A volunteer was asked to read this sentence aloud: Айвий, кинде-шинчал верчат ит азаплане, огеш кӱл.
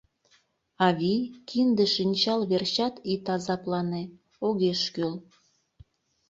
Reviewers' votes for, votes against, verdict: 0, 2, rejected